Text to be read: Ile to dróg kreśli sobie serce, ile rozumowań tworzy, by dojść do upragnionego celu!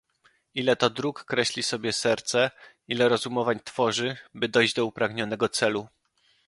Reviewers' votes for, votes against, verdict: 2, 0, accepted